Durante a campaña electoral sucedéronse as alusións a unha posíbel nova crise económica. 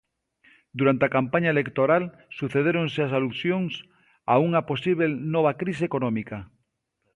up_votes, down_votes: 2, 0